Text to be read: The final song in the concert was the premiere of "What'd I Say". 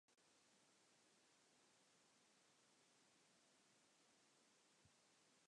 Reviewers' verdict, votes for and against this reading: rejected, 0, 2